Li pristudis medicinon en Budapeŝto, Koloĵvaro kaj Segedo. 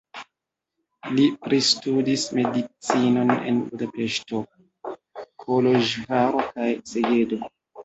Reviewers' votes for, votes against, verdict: 1, 2, rejected